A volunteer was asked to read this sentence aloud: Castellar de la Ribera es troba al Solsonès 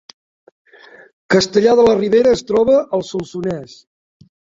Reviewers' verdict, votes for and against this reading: accepted, 3, 0